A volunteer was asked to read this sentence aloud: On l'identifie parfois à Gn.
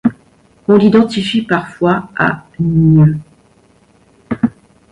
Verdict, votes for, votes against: rejected, 1, 2